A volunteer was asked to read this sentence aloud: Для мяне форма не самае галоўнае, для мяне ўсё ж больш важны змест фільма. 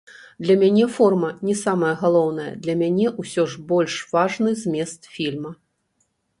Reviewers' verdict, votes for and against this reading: rejected, 1, 2